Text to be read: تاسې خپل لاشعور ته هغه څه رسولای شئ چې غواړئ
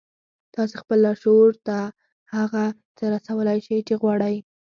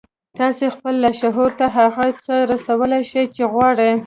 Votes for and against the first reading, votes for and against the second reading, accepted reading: 4, 0, 1, 2, first